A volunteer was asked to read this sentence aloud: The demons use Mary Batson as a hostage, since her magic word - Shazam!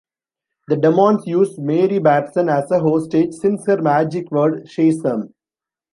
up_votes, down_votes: 0, 2